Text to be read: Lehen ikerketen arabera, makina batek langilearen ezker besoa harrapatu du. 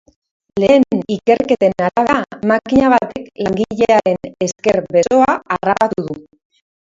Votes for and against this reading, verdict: 0, 2, rejected